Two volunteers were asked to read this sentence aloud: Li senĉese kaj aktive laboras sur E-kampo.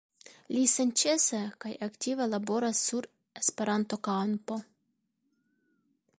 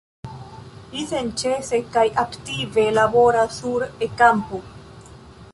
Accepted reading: first